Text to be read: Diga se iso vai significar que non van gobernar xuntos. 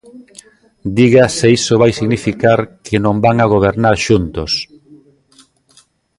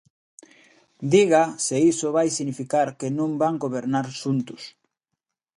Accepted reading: second